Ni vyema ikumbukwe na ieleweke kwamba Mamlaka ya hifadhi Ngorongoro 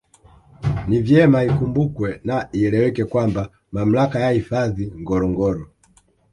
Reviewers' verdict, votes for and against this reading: rejected, 1, 2